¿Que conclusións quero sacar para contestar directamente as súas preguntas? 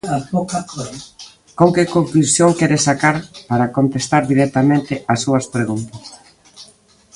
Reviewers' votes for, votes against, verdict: 0, 2, rejected